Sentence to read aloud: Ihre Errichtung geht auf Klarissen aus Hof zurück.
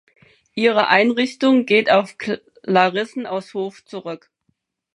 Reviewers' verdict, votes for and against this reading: rejected, 0, 4